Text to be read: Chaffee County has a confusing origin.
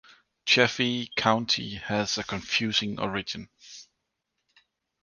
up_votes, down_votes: 2, 0